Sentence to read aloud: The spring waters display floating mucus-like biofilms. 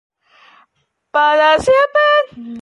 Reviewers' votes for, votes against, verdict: 0, 2, rejected